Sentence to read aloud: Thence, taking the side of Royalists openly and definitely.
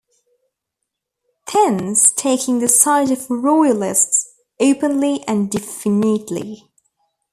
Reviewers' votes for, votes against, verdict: 0, 2, rejected